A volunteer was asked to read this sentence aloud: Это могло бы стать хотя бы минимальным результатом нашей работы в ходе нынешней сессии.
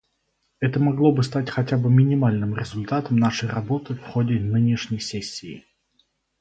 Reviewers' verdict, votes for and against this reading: accepted, 4, 0